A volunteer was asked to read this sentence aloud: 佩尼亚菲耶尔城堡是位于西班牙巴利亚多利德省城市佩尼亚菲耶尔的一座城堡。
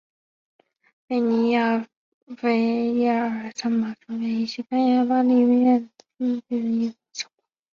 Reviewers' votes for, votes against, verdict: 0, 2, rejected